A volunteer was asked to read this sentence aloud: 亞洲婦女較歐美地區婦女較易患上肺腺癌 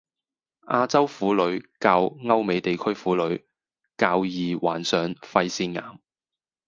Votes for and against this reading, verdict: 0, 2, rejected